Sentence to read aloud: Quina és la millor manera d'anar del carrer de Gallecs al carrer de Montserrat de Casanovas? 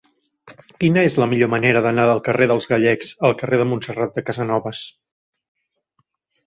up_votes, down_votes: 0, 2